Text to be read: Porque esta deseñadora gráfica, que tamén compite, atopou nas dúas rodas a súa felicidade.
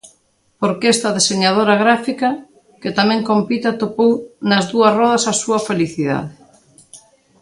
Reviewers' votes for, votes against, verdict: 2, 0, accepted